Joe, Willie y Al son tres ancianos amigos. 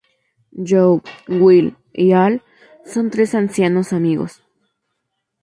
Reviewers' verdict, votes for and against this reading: rejected, 4, 4